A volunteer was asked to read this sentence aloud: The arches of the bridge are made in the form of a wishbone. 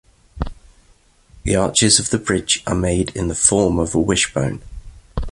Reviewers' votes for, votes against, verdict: 2, 0, accepted